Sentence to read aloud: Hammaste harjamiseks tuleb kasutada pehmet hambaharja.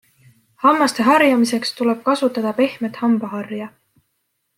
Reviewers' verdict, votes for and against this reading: accepted, 2, 0